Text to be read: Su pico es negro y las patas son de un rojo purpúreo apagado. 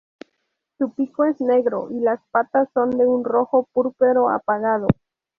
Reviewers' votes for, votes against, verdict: 2, 2, rejected